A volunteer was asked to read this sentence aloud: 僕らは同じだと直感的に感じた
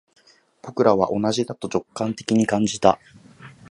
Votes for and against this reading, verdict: 2, 0, accepted